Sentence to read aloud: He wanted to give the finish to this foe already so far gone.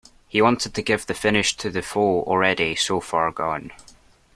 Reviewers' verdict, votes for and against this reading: rejected, 0, 2